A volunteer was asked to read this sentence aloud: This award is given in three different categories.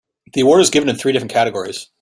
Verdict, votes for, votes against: accepted, 2, 0